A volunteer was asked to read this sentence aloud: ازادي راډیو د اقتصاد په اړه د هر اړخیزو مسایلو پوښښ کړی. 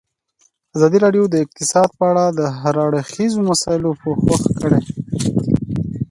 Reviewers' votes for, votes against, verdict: 2, 0, accepted